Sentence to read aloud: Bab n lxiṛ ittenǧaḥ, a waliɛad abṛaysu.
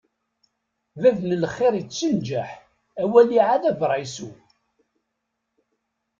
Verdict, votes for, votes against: accepted, 2, 0